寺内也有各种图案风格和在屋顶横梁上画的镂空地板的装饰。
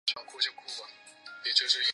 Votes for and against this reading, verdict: 0, 2, rejected